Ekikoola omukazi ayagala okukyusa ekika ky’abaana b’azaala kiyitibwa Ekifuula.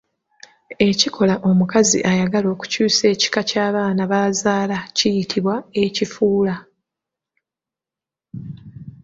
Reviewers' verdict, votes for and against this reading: accepted, 2, 1